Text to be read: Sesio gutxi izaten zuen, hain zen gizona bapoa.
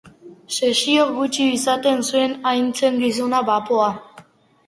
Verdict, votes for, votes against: accepted, 4, 1